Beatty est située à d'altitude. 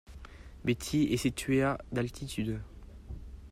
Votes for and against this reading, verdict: 2, 0, accepted